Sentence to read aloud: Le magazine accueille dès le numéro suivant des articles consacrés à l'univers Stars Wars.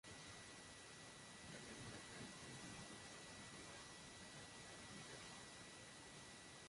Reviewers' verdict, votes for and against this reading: rejected, 0, 2